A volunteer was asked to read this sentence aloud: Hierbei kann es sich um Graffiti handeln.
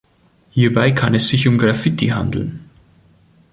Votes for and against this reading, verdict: 2, 0, accepted